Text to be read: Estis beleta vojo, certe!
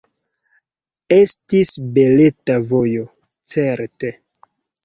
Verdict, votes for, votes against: rejected, 0, 2